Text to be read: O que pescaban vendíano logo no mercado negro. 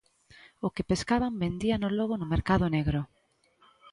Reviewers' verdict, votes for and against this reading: accepted, 2, 0